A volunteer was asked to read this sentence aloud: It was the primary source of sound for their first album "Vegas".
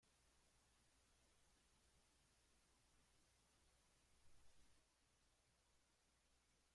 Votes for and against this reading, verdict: 0, 2, rejected